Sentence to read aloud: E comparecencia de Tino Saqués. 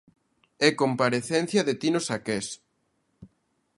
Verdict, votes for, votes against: accepted, 2, 0